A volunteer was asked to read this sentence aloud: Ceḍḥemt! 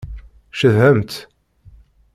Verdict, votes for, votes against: rejected, 1, 2